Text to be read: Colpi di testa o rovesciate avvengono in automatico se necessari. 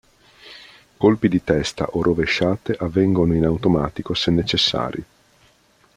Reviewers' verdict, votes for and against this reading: accepted, 2, 0